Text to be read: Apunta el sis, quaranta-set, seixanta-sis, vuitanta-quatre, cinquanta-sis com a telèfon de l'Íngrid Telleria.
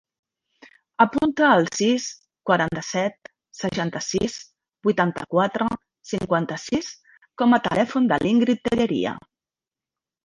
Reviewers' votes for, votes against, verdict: 1, 2, rejected